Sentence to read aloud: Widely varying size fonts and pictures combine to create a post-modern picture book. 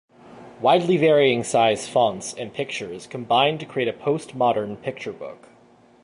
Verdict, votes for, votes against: accepted, 2, 0